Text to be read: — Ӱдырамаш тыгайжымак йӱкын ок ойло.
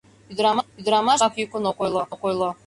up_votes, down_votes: 0, 2